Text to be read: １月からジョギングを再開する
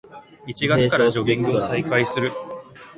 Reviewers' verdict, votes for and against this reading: rejected, 0, 2